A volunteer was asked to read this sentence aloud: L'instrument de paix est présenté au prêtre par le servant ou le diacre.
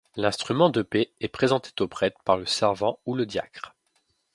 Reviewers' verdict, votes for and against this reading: rejected, 1, 2